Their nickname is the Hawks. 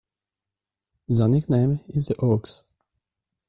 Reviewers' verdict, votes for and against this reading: rejected, 1, 2